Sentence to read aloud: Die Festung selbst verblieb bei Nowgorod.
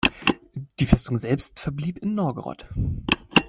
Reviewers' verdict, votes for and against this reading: rejected, 0, 2